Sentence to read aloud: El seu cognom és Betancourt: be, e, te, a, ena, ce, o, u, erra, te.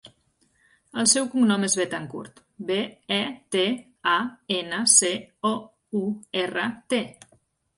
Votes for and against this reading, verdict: 3, 0, accepted